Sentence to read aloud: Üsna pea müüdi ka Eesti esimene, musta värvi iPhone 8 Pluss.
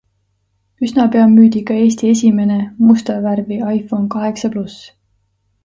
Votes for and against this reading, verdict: 0, 2, rejected